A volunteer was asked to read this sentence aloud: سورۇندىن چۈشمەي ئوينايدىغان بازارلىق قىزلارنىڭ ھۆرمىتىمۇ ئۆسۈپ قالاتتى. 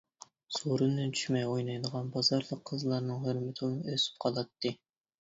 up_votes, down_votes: 0, 2